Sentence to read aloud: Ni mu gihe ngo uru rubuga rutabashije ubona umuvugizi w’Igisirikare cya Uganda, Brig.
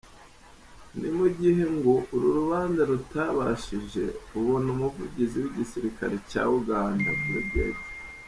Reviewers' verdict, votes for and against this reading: rejected, 0, 2